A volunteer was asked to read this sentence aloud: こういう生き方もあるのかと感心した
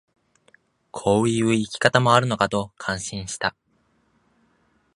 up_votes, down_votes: 2, 0